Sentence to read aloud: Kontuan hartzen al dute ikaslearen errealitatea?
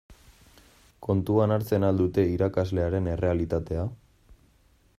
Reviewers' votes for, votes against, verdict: 0, 2, rejected